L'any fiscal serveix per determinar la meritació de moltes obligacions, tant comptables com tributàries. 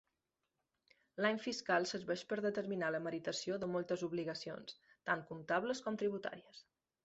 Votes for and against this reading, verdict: 2, 0, accepted